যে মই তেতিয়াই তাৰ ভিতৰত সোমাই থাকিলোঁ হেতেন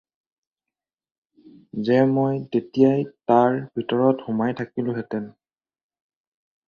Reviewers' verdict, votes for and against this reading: accepted, 4, 0